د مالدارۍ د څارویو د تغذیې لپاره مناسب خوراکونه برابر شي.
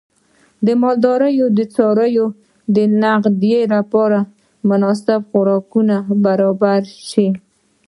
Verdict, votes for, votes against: rejected, 1, 2